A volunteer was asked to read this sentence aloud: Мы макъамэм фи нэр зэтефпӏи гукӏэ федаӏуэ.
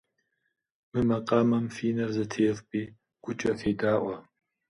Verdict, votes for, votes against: accepted, 2, 0